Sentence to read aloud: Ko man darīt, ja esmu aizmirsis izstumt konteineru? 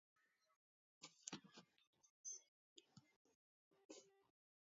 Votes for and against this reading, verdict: 0, 2, rejected